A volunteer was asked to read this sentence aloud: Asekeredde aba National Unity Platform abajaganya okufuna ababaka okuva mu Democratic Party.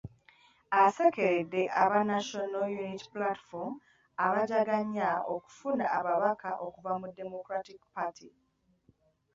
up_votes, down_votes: 0, 2